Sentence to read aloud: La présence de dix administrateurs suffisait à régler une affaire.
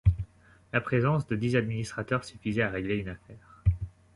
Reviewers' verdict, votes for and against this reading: accepted, 2, 0